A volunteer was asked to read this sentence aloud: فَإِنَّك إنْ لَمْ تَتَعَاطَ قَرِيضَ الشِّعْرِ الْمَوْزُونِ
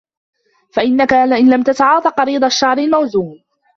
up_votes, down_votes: 0, 2